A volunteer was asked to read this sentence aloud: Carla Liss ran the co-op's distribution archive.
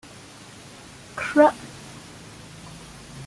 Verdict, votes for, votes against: rejected, 0, 2